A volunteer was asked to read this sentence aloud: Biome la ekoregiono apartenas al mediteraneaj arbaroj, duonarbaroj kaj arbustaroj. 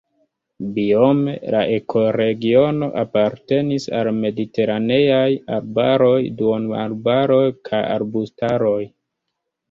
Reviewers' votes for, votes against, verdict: 0, 2, rejected